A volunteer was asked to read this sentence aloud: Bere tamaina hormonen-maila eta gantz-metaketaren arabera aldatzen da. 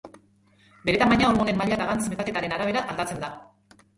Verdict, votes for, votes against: rejected, 0, 3